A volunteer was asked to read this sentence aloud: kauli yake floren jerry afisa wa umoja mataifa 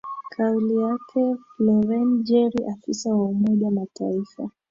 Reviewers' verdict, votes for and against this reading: accepted, 2, 0